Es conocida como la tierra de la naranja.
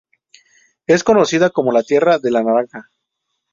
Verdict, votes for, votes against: accepted, 4, 0